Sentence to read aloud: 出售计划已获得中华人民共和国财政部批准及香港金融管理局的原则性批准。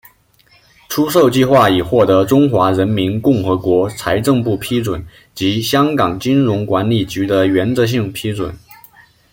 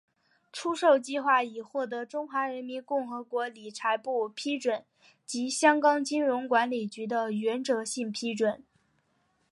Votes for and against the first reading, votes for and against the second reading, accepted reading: 2, 1, 0, 2, first